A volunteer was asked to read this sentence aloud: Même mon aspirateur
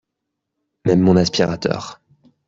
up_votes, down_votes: 3, 0